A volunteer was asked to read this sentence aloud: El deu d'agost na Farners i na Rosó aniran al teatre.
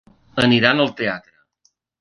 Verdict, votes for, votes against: rejected, 0, 2